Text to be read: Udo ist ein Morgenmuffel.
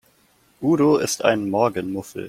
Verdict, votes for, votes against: accepted, 2, 0